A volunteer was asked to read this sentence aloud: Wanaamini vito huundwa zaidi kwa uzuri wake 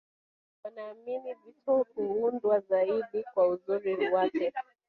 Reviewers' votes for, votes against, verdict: 1, 2, rejected